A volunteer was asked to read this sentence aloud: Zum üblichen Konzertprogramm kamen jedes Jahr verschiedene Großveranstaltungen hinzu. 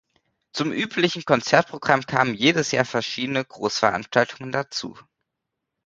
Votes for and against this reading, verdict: 0, 2, rejected